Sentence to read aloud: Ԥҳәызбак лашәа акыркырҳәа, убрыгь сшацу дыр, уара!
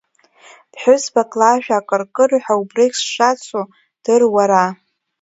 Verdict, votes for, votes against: accepted, 2, 1